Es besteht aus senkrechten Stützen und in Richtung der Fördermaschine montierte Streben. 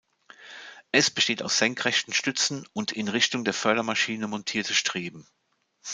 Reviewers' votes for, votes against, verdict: 2, 0, accepted